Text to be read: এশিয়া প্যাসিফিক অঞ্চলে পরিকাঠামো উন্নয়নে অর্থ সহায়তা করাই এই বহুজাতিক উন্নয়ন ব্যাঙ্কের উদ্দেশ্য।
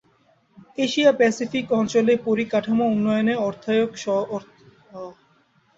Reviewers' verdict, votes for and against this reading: rejected, 0, 2